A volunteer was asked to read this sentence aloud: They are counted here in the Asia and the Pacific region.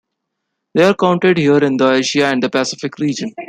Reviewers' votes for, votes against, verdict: 2, 1, accepted